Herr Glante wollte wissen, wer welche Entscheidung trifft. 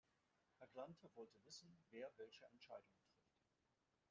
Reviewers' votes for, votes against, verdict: 1, 2, rejected